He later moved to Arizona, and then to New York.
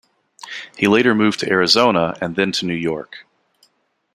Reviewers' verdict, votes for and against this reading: accepted, 2, 0